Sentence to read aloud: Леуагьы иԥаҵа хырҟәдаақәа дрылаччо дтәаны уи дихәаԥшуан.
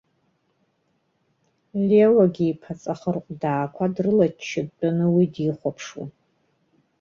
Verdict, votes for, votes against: rejected, 0, 2